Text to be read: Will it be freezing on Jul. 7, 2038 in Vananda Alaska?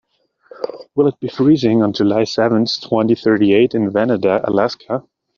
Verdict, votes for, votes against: rejected, 0, 2